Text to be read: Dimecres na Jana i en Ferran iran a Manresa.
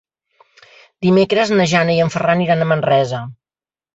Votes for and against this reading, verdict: 3, 0, accepted